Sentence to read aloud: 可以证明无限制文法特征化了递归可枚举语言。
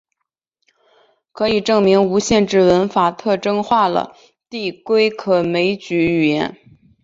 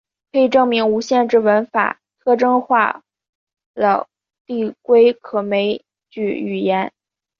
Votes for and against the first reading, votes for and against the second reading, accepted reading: 2, 0, 1, 2, first